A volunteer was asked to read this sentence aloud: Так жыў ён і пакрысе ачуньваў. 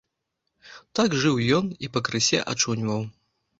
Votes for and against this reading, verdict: 2, 1, accepted